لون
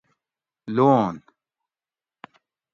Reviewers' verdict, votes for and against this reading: accepted, 2, 0